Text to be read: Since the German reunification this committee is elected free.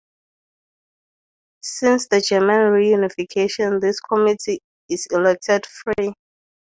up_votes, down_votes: 2, 0